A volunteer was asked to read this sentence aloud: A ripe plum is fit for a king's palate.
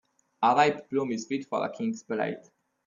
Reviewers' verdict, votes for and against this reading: rejected, 0, 2